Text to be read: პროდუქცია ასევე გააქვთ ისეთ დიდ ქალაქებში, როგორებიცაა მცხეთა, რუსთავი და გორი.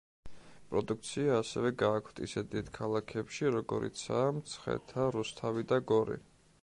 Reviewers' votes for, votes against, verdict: 0, 2, rejected